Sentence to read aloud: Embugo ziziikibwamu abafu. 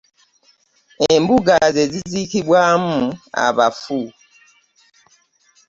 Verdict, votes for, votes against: rejected, 1, 2